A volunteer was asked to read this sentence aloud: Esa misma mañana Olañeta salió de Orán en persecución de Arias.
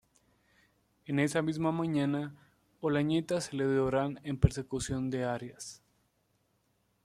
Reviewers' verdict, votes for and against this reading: rejected, 1, 2